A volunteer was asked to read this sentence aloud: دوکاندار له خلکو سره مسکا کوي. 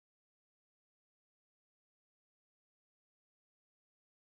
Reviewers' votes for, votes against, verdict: 0, 2, rejected